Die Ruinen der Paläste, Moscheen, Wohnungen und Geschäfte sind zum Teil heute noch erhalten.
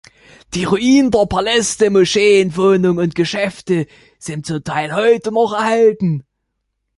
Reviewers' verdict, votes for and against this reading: rejected, 1, 2